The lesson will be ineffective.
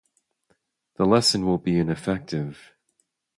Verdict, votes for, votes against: accepted, 2, 0